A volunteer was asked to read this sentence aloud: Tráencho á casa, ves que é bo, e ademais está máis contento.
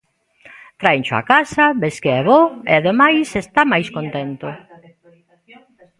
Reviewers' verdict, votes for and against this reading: rejected, 1, 2